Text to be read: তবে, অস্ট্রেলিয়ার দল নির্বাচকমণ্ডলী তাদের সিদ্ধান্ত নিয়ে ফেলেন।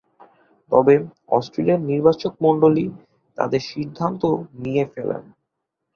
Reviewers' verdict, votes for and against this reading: rejected, 0, 3